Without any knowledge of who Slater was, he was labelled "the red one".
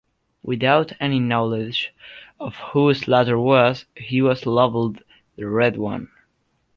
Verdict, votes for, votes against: rejected, 1, 2